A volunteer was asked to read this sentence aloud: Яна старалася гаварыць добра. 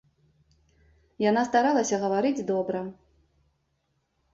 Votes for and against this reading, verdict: 3, 1, accepted